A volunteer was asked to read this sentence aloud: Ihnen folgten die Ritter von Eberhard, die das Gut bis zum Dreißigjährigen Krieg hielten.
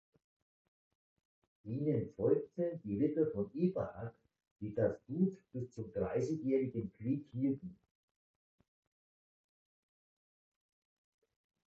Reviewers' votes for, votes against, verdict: 0, 2, rejected